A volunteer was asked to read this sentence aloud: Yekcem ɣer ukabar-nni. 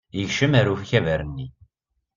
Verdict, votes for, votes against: accepted, 2, 0